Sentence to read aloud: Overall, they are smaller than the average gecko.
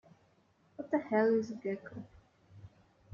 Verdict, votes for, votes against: rejected, 0, 2